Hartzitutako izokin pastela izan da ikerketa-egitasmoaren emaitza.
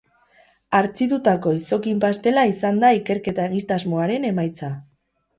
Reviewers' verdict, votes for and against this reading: accepted, 2, 0